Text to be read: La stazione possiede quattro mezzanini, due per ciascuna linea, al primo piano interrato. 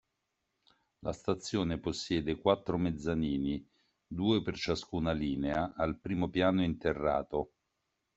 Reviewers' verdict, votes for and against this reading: accepted, 2, 0